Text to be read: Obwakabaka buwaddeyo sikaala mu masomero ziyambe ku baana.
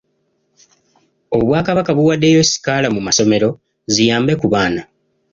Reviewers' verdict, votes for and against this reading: accepted, 2, 0